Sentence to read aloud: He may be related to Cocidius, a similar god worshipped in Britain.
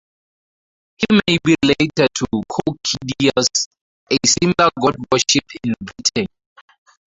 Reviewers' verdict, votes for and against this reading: rejected, 2, 4